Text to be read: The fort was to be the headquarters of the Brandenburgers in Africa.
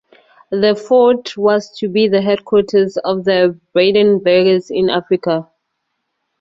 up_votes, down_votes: 4, 0